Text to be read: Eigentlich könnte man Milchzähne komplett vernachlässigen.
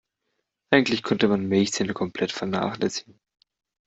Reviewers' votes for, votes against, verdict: 2, 0, accepted